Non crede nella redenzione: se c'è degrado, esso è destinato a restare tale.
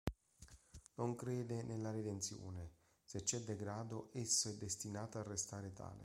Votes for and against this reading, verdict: 0, 2, rejected